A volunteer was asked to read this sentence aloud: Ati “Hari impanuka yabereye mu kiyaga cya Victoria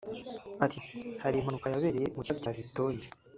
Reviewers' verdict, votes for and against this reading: rejected, 0, 2